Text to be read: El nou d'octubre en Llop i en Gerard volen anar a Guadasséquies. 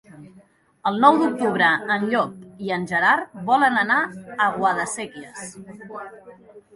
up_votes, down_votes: 2, 0